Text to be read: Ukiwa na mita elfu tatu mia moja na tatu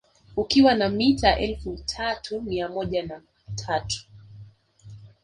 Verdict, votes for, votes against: rejected, 0, 2